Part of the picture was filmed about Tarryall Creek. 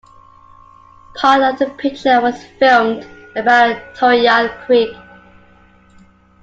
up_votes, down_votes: 2, 1